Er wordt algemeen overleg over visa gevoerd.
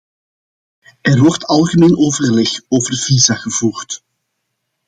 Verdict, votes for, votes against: accepted, 2, 0